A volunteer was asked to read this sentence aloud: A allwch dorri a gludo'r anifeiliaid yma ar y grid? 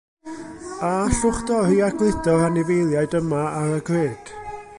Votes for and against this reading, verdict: 1, 2, rejected